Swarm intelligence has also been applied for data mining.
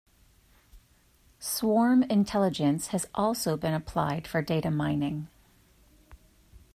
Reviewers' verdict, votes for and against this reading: accepted, 2, 0